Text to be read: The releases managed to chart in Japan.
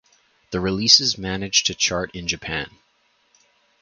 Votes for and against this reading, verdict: 4, 0, accepted